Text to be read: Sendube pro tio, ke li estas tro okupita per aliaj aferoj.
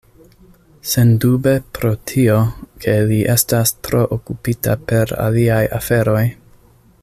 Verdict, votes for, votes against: accepted, 2, 0